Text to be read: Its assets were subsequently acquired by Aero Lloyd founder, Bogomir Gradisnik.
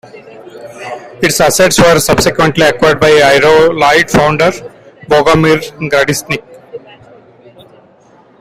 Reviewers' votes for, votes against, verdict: 1, 2, rejected